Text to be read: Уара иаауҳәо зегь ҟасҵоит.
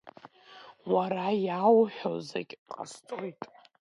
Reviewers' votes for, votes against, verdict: 2, 0, accepted